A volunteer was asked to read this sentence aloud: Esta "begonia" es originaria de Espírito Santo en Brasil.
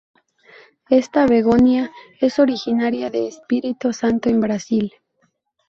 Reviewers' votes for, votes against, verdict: 0, 2, rejected